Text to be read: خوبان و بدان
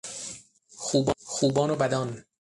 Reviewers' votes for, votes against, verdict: 3, 6, rejected